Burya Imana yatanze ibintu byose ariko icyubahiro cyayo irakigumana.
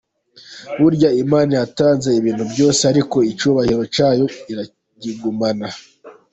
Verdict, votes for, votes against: accepted, 3, 1